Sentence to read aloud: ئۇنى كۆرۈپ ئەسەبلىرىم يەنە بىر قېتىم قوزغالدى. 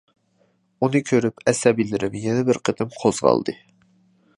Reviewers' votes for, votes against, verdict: 1, 2, rejected